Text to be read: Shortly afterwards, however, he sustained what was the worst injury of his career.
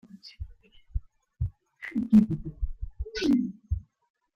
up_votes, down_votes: 0, 2